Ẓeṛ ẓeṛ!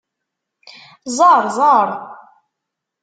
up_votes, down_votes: 2, 0